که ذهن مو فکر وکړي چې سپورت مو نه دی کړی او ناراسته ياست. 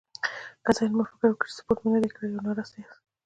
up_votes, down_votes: 2, 0